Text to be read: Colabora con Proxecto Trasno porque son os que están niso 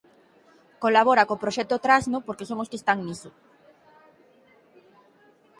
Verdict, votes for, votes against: rejected, 0, 6